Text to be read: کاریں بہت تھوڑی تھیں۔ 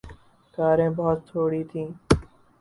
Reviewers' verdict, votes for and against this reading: rejected, 0, 2